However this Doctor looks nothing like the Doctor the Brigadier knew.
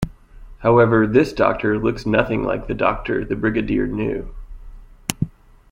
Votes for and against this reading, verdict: 3, 0, accepted